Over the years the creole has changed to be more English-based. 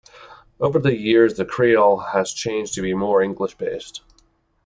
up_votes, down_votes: 2, 0